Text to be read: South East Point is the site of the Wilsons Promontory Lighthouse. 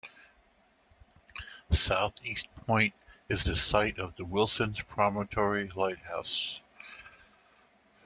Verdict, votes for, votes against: accepted, 2, 0